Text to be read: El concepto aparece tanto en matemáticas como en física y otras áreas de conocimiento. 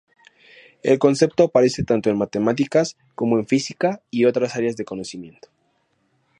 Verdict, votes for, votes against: accepted, 2, 0